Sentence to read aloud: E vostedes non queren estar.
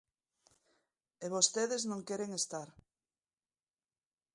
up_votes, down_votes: 2, 0